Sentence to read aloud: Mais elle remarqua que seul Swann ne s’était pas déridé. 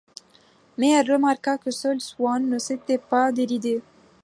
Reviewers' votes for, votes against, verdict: 2, 0, accepted